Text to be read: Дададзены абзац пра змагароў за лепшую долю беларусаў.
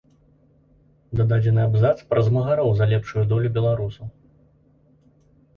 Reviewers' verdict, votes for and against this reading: accepted, 2, 0